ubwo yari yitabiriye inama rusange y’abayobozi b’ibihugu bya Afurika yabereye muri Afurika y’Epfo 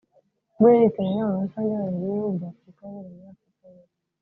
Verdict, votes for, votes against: rejected, 0, 2